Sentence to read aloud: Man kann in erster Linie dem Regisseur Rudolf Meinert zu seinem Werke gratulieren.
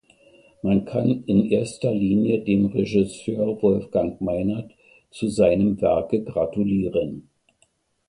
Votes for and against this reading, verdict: 1, 2, rejected